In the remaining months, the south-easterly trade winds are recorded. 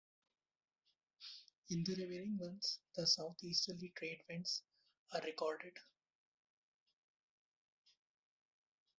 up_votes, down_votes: 0, 2